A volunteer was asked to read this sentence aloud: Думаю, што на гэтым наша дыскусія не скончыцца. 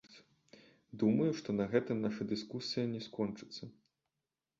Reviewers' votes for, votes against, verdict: 1, 2, rejected